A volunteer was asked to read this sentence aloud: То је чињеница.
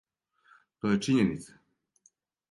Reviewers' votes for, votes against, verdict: 2, 0, accepted